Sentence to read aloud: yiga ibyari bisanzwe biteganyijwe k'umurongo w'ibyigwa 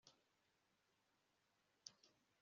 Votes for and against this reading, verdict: 0, 2, rejected